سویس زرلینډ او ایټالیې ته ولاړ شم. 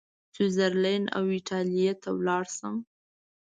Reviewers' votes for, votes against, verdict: 2, 0, accepted